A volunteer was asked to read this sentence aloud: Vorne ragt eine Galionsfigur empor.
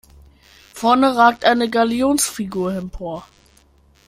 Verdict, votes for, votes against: accepted, 2, 0